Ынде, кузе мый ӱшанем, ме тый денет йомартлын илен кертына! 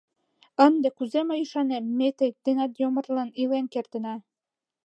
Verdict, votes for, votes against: rejected, 1, 2